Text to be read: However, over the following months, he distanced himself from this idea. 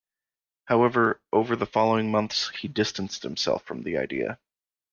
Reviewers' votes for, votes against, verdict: 1, 2, rejected